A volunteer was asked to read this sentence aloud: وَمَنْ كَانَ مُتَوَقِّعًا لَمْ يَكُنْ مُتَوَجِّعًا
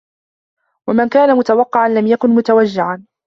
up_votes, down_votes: 2, 1